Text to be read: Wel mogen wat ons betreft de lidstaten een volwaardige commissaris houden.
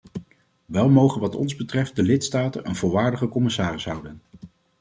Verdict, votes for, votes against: accepted, 2, 0